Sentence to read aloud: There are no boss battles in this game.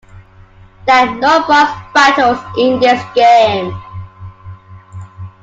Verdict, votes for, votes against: accepted, 2, 1